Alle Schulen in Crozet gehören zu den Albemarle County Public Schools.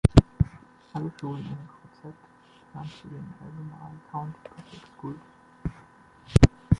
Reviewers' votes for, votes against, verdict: 0, 2, rejected